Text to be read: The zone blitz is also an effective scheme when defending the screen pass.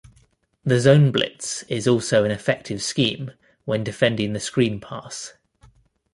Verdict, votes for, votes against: accepted, 2, 1